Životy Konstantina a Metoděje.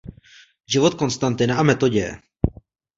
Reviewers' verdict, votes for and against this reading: rejected, 1, 2